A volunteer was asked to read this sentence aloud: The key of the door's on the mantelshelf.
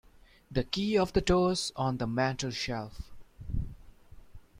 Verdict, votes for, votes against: accepted, 2, 0